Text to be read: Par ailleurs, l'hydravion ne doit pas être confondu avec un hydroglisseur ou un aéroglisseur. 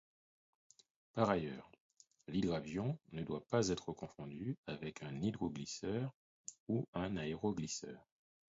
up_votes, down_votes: 4, 0